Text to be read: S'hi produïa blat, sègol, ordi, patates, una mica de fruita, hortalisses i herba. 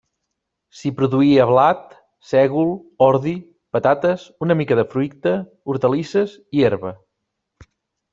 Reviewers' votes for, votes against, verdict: 2, 0, accepted